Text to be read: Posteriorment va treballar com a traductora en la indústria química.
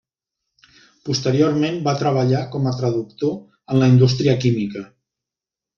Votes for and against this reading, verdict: 0, 2, rejected